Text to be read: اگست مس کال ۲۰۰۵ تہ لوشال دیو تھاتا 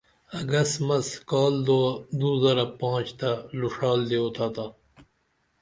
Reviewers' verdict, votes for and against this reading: rejected, 0, 2